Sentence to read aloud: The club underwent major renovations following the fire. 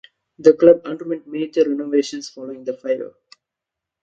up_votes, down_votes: 2, 0